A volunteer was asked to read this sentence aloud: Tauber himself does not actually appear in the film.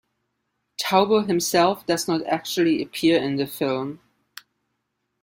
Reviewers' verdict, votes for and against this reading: accepted, 3, 1